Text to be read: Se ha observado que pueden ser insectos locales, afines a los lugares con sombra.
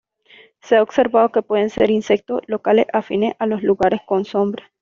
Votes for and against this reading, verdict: 1, 2, rejected